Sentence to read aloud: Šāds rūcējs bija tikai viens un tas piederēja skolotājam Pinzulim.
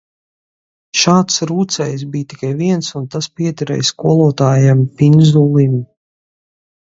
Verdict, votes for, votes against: accepted, 4, 2